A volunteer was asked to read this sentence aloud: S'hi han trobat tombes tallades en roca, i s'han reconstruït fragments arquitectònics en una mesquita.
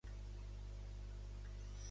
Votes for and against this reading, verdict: 0, 2, rejected